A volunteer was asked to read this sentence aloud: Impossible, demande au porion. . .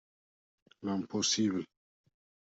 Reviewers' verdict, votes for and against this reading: rejected, 0, 2